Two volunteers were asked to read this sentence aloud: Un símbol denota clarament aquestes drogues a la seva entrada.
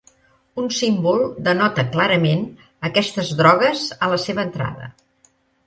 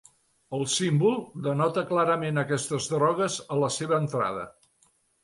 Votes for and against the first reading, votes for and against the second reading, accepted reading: 3, 0, 0, 2, first